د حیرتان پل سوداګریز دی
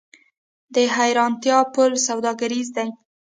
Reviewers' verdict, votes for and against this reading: accepted, 2, 0